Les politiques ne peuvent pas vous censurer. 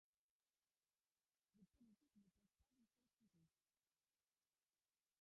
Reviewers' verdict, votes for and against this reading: rejected, 0, 2